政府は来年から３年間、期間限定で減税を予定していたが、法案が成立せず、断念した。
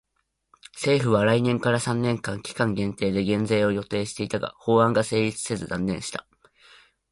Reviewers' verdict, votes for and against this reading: rejected, 0, 2